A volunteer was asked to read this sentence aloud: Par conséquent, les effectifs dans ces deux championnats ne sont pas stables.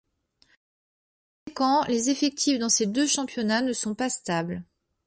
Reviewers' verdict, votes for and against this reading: rejected, 1, 2